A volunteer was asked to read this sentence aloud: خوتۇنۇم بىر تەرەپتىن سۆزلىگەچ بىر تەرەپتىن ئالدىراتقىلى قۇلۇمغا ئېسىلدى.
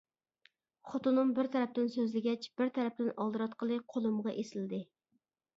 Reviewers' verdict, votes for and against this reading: accepted, 2, 0